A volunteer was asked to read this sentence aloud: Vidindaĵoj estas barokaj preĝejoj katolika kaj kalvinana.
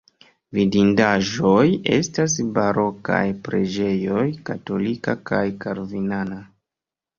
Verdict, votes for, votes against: rejected, 1, 2